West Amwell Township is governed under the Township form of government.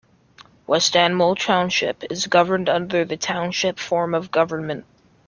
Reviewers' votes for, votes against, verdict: 2, 0, accepted